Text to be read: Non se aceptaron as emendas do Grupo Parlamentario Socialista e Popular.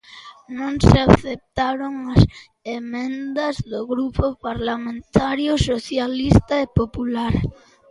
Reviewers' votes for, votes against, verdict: 2, 0, accepted